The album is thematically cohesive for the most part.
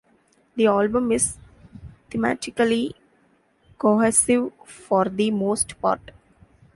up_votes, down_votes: 0, 3